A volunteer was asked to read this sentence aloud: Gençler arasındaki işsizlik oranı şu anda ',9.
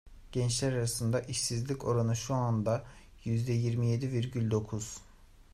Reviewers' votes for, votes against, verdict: 0, 2, rejected